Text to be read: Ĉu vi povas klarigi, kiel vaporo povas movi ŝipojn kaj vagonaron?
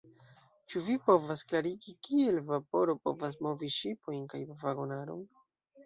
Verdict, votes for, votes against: rejected, 0, 2